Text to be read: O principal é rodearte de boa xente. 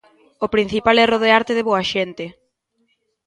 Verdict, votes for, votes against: accepted, 2, 0